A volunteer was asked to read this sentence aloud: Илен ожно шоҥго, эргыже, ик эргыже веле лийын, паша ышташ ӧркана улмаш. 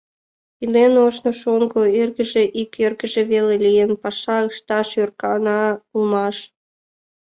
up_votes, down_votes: 2, 0